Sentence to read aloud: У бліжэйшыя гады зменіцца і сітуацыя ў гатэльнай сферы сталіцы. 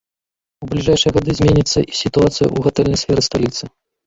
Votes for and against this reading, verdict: 1, 2, rejected